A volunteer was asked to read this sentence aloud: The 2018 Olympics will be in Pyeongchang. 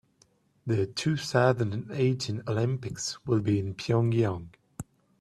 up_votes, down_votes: 0, 2